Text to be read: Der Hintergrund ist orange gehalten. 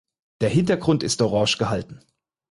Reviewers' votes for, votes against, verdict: 4, 0, accepted